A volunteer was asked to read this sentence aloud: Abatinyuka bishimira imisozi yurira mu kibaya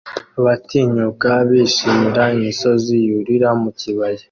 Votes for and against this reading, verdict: 2, 0, accepted